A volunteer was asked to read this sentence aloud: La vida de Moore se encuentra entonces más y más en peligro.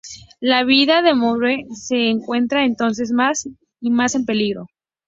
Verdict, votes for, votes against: accepted, 2, 0